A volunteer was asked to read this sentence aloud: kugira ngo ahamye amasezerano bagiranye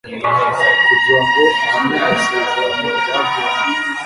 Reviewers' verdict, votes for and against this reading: rejected, 0, 2